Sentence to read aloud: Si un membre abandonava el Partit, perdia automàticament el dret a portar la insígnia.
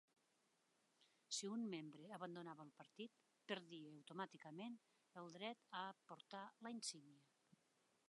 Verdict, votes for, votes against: rejected, 0, 2